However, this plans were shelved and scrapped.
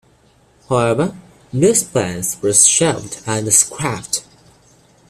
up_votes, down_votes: 1, 2